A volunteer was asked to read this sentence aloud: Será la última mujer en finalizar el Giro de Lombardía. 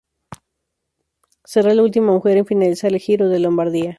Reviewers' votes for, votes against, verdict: 0, 2, rejected